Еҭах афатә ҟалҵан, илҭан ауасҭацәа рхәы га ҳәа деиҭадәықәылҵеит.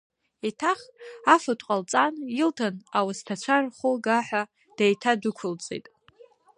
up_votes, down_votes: 1, 2